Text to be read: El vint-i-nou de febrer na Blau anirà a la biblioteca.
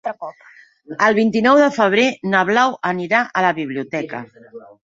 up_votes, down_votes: 3, 0